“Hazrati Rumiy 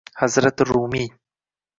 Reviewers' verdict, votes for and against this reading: accepted, 2, 0